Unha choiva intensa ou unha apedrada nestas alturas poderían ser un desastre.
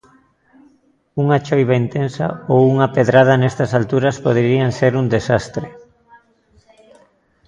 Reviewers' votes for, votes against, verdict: 1, 2, rejected